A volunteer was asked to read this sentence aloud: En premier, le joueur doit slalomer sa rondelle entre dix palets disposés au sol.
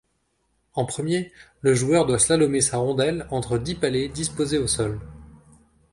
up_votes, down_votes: 2, 0